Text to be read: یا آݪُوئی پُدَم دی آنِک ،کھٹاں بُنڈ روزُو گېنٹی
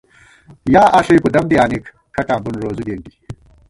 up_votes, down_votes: 1, 2